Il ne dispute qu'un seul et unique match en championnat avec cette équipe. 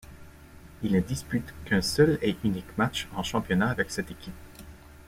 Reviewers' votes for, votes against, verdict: 2, 0, accepted